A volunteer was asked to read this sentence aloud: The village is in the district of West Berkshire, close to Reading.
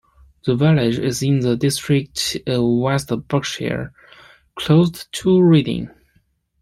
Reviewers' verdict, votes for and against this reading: accepted, 2, 1